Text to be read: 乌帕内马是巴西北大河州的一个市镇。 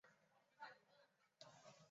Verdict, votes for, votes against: rejected, 0, 2